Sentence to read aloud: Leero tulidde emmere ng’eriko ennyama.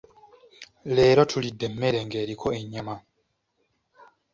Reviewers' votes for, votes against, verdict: 2, 1, accepted